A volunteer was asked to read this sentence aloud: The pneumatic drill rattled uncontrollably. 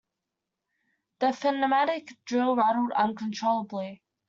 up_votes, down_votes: 0, 2